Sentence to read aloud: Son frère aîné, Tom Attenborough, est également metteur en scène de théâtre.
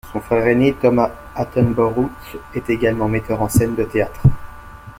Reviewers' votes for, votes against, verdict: 1, 2, rejected